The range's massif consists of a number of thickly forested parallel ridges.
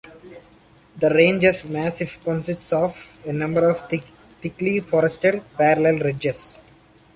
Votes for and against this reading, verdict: 1, 2, rejected